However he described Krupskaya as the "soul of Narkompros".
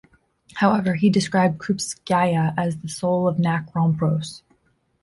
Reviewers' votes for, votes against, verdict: 2, 0, accepted